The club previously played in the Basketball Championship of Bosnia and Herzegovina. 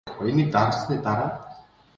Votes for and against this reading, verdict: 0, 2, rejected